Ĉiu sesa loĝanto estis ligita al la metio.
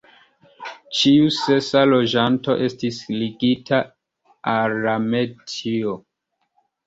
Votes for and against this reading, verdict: 0, 2, rejected